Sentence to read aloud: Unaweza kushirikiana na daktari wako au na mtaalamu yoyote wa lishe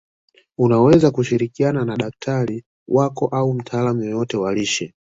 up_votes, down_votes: 2, 1